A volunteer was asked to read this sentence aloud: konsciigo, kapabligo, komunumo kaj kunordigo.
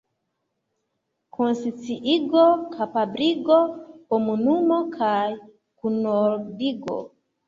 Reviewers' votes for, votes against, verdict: 2, 1, accepted